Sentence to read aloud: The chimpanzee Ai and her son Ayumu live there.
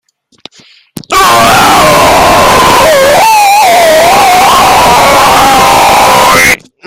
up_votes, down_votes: 2, 0